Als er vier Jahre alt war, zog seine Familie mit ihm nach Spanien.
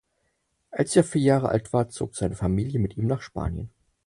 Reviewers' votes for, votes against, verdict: 4, 0, accepted